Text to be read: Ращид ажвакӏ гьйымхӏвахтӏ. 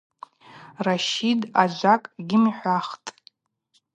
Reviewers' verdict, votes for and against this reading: accepted, 2, 0